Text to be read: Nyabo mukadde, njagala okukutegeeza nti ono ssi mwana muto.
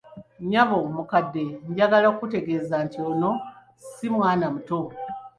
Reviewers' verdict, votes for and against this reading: accepted, 2, 0